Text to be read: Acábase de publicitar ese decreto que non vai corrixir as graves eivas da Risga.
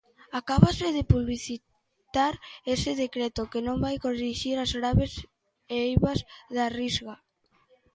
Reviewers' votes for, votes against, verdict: 1, 2, rejected